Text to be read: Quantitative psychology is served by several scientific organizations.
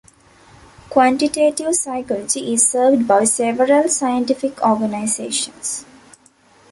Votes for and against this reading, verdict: 1, 2, rejected